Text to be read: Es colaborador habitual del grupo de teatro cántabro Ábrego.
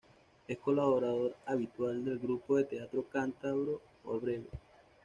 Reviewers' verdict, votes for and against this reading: rejected, 1, 2